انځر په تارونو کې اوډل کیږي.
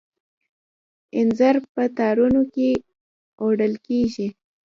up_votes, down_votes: 1, 2